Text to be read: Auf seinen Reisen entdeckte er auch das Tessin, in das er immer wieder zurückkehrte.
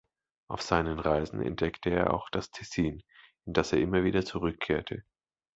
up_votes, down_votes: 2, 0